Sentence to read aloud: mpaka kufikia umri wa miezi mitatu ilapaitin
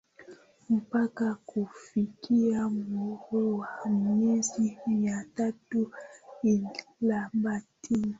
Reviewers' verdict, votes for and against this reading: accepted, 2, 1